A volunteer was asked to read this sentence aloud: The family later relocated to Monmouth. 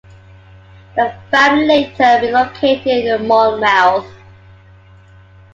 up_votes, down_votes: 1, 2